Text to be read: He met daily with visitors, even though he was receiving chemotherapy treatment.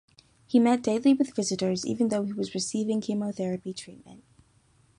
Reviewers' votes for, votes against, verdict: 2, 0, accepted